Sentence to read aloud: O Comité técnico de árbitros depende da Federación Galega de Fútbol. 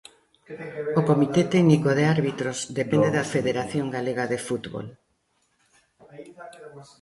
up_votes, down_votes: 1, 2